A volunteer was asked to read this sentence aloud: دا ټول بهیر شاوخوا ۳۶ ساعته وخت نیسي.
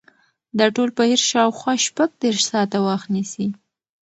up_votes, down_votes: 0, 2